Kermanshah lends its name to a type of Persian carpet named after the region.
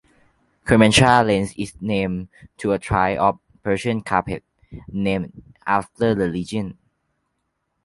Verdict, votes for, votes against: rejected, 1, 2